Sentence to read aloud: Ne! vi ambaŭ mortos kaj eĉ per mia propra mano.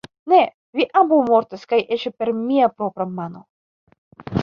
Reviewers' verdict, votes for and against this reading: rejected, 0, 2